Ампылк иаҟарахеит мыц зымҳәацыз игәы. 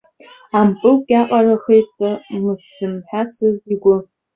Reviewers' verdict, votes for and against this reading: accepted, 2, 1